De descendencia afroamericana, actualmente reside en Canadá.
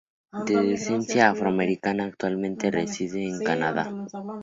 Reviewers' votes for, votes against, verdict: 2, 2, rejected